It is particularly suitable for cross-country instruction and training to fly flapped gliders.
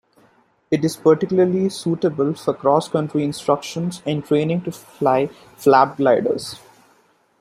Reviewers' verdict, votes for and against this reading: rejected, 1, 2